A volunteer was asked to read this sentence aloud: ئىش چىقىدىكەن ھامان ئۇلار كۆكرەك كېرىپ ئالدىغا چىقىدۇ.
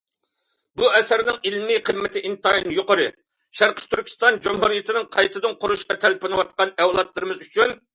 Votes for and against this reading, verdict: 0, 2, rejected